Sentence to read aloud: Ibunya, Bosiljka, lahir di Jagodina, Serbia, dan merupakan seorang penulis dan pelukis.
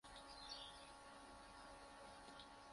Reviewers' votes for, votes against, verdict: 0, 2, rejected